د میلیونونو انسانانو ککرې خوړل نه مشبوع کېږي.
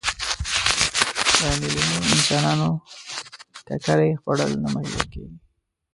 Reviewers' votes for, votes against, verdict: 0, 2, rejected